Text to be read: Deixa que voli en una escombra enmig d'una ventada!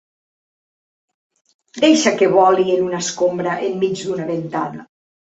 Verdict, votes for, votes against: accepted, 2, 0